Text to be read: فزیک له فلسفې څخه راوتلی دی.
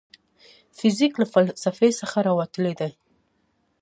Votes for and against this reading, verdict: 2, 0, accepted